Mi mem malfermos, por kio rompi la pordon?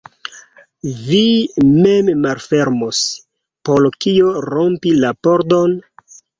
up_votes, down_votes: 1, 2